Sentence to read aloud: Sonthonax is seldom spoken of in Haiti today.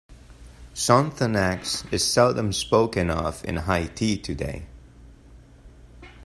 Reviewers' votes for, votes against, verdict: 1, 2, rejected